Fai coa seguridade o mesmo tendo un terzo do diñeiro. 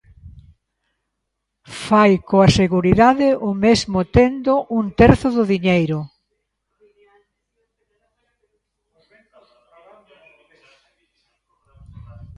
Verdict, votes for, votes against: rejected, 1, 2